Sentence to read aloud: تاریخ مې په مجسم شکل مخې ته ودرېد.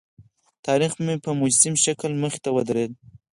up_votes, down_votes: 0, 4